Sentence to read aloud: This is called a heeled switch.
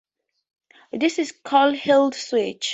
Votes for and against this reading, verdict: 2, 0, accepted